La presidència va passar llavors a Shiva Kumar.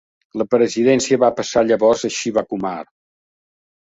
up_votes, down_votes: 2, 0